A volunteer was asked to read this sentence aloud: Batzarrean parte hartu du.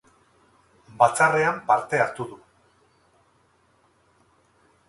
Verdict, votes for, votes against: rejected, 2, 2